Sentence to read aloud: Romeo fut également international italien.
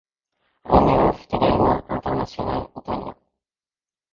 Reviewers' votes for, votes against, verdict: 0, 2, rejected